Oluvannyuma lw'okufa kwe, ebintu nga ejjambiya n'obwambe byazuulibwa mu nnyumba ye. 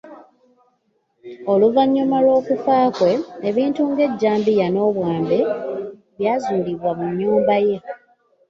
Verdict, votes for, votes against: accepted, 2, 0